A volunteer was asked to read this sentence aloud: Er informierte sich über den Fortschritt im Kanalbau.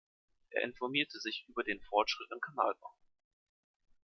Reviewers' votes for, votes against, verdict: 2, 0, accepted